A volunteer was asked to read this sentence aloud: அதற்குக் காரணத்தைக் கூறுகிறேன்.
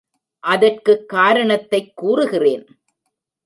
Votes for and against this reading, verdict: 2, 0, accepted